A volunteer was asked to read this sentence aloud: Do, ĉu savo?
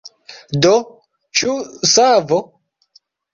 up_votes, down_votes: 3, 2